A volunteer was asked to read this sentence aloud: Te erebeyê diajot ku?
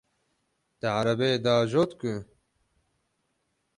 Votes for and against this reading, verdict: 6, 12, rejected